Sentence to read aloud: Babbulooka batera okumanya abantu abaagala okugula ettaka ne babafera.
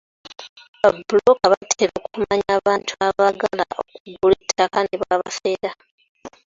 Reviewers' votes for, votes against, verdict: 2, 1, accepted